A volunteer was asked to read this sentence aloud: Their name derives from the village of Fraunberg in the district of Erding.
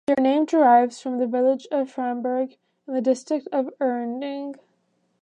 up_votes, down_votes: 1, 2